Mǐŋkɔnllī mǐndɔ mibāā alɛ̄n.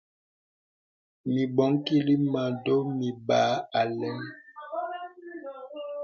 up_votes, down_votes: 0, 2